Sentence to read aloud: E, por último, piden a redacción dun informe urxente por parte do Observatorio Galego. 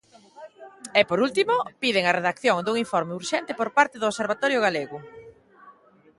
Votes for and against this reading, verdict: 1, 2, rejected